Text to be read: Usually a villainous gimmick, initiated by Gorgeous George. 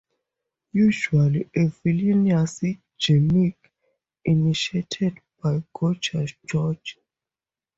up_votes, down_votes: 2, 0